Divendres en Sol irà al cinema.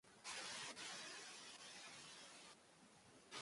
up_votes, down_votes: 0, 2